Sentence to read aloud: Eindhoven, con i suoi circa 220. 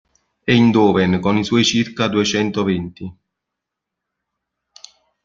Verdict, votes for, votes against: rejected, 0, 2